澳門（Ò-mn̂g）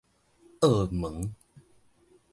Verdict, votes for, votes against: accepted, 2, 0